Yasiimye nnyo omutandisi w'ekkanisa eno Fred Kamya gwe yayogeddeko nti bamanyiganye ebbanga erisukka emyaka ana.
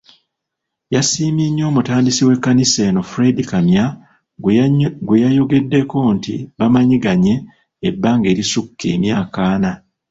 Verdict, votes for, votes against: rejected, 0, 2